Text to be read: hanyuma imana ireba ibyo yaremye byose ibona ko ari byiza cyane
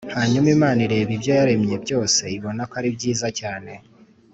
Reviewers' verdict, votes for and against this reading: accepted, 3, 0